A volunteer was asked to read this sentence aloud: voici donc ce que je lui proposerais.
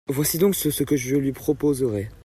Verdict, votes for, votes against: rejected, 1, 2